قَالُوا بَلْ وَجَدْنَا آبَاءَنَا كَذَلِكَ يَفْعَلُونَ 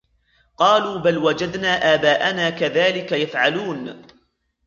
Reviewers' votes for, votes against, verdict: 1, 2, rejected